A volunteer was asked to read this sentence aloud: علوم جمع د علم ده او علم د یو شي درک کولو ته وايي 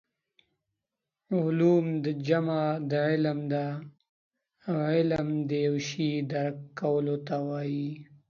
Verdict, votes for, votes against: rejected, 1, 2